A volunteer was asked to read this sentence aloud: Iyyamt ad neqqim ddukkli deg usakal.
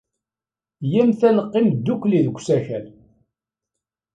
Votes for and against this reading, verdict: 2, 0, accepted